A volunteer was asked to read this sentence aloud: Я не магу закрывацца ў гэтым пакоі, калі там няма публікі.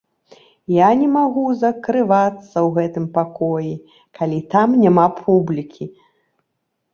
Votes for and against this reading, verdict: 2, 0, accepted